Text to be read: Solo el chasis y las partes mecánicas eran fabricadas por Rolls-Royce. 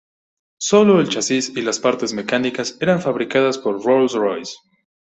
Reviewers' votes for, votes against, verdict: 2, 0, accepted